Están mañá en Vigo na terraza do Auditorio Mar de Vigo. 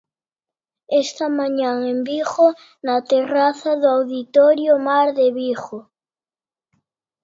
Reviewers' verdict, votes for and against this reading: rejected, 1, 2